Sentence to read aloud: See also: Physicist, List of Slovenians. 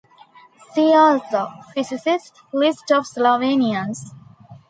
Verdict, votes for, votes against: accepted, 2, 0